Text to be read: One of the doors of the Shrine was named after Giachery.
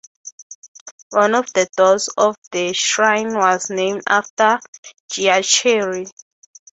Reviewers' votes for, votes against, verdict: 3, 0, accepted